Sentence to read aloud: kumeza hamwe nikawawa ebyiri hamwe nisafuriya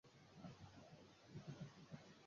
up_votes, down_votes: 0, 2